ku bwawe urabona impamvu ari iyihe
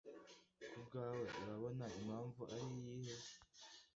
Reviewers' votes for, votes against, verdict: 2, 1, accepted